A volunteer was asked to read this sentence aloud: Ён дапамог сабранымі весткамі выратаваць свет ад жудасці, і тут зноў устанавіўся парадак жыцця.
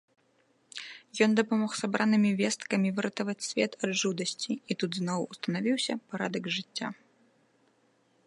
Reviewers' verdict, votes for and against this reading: accepted, 2, 0